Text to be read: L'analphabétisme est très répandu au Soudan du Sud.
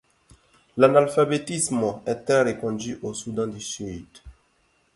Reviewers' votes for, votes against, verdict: 2, 0, accepted